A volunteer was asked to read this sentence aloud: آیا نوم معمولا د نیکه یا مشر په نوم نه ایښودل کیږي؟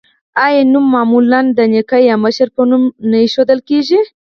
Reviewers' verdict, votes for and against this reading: rejected, 2, 4